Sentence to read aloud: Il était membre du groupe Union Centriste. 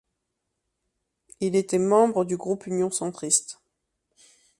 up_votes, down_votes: 2, 0